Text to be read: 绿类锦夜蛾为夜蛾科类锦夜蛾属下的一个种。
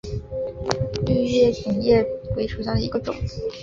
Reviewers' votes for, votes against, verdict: 0, 3, rejected